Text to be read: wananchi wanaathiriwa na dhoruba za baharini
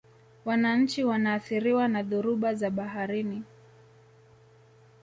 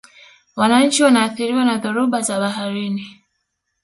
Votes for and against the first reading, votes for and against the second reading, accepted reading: 2, 0, 1, 2, first